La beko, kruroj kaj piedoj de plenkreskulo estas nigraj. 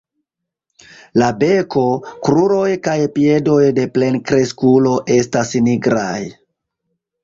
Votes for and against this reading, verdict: 1, 2, rejected